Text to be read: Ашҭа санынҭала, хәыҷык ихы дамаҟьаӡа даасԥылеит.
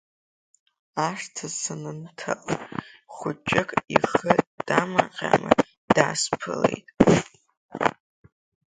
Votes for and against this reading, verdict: 3, 2, accepted